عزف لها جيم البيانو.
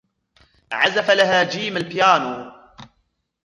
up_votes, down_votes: 1, 2